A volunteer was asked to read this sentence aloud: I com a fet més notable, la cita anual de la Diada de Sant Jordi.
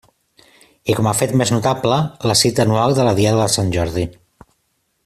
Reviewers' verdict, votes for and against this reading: accepted, 2, 0